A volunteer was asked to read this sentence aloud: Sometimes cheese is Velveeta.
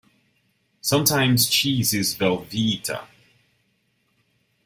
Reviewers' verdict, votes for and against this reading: accepted, 2, 0